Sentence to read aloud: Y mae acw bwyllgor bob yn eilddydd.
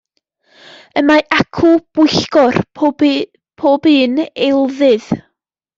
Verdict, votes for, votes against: rejected, 1, 2